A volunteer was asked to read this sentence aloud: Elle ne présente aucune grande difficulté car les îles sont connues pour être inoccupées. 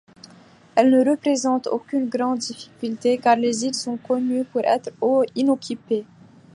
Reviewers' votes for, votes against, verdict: 2, 0, accepted